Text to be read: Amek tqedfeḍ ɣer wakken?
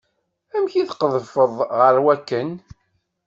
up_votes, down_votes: 2, 0